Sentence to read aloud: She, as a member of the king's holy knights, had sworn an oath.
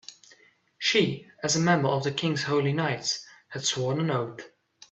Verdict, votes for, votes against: accepted, 2, 0